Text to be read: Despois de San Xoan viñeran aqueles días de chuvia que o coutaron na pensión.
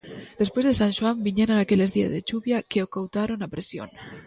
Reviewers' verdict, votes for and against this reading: rejected, 1, 2